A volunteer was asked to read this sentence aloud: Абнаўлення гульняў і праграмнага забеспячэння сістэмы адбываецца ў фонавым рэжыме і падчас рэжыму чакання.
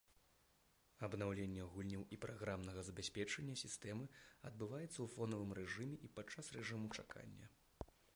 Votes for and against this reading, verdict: 0, 2, rejected